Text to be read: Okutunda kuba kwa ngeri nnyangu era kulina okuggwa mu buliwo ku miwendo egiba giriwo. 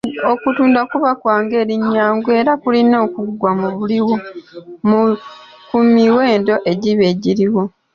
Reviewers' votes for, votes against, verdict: 1, 2, rejected